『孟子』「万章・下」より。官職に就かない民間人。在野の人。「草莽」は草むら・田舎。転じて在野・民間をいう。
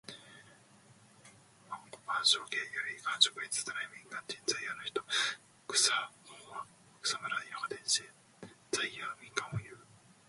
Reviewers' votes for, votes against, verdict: 0, 2, rejected